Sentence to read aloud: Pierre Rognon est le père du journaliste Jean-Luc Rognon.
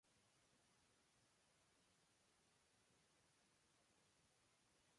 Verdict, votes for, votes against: rejected, 0, 2